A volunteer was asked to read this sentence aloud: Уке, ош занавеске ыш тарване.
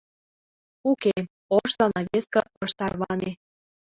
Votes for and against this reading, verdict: 2, 0, accepted